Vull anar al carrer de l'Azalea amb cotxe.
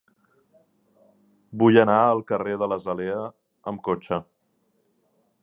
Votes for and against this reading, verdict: 2, 0, accepted